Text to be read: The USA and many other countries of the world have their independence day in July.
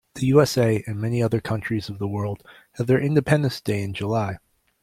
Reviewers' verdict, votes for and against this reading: accepted, 2, 0